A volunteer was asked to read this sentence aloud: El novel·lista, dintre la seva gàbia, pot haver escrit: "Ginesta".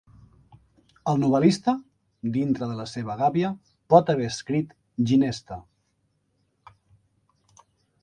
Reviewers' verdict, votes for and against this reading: accepted, 2, 0